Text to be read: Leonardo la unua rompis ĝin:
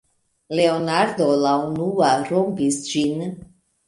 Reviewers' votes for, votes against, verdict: 2, 1, accepted